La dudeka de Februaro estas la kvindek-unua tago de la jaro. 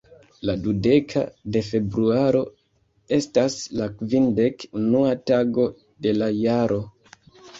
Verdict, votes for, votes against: accepted, 2, 1